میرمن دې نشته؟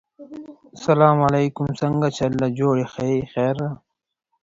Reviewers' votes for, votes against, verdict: 0, 4, rejected